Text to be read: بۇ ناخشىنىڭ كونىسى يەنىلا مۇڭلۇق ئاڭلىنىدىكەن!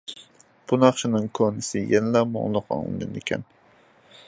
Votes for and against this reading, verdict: 2, 0, accepted